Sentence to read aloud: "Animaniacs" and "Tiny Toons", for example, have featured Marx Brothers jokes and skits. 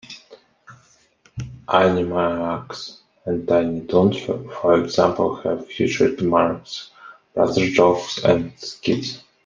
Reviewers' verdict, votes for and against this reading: rejected, 1, 2